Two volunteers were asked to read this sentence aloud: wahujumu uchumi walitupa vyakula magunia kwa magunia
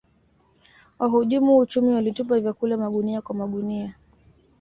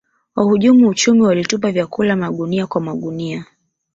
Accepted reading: first